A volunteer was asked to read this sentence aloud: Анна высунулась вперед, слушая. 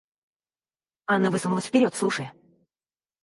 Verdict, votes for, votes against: rejected, 0, 4